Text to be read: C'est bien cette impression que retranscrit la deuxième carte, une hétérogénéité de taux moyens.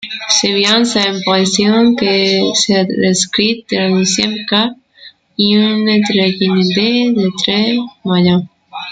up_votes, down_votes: 0, 2